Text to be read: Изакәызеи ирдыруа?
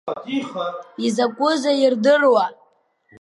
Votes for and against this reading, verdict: 1, 2, rejected